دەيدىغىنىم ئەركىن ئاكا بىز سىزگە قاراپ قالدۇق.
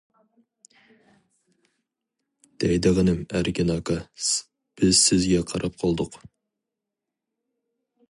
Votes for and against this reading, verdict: 0, 4, rejected